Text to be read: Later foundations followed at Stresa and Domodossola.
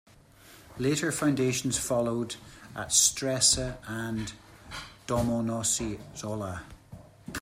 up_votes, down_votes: 0, 2